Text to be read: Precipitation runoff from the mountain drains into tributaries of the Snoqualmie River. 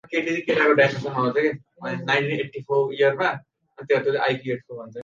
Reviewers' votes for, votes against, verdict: 0, 2, rejected